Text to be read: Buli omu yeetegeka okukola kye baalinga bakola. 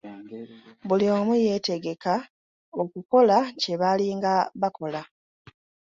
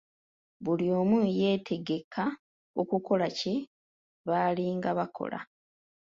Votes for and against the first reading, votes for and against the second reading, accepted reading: 2, 0, 0, 2, first